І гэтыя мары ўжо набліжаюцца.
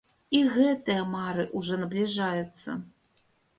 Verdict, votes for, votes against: rejected, 1, 2